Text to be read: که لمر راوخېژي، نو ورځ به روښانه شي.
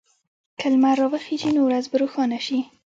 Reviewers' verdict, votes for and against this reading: rejected, 0, 2